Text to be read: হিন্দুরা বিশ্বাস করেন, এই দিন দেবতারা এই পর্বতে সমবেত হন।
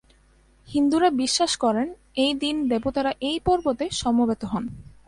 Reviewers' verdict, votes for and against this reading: accepted, 2, 0